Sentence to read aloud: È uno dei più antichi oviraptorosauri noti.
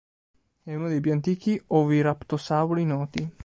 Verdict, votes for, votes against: accepted, 2, 1